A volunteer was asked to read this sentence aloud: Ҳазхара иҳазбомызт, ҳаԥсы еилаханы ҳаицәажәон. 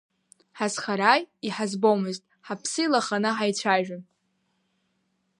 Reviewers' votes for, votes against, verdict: 1, 2, rejected